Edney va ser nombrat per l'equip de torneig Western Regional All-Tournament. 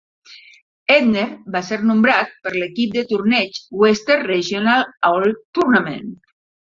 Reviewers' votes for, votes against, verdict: 0, 2, rejected